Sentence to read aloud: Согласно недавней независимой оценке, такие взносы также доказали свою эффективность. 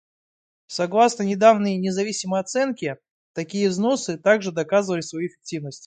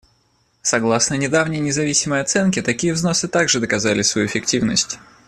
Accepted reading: second